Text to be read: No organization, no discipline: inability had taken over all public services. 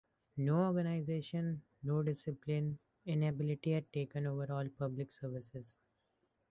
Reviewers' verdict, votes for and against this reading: accepted, 2, 0